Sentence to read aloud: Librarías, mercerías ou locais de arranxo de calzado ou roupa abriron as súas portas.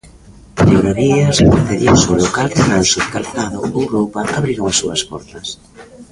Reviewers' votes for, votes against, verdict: 0, 2, rejected